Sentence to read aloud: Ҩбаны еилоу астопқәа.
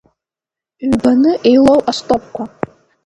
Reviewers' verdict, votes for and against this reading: accepted, 2, 0